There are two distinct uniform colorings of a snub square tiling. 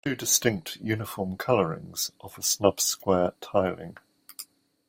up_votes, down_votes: 0, 2